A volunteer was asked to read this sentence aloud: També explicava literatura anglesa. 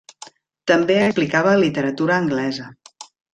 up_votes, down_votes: 1, 2